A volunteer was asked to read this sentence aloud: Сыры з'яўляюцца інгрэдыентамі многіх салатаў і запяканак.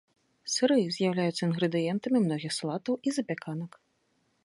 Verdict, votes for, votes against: accepted, 2, 0